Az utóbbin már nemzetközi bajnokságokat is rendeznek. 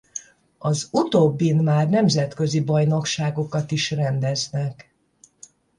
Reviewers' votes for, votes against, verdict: 5, 0, accepted